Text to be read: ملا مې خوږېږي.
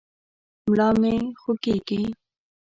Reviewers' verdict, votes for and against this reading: accepted, 2, 0